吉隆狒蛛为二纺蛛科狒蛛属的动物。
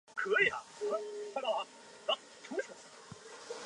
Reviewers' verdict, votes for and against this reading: rejected, 0, 2